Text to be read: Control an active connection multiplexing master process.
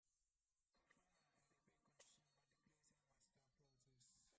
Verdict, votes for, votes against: rejected, 0, 2